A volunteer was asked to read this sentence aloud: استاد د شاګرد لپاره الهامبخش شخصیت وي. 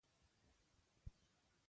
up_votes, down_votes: 0, 2